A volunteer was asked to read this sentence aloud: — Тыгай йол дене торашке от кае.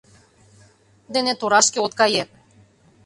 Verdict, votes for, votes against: rejected, 0, 2